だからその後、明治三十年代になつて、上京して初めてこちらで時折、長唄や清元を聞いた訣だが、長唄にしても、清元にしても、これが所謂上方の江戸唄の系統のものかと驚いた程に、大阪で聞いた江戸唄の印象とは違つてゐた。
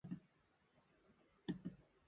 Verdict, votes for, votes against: rejected, 0, 2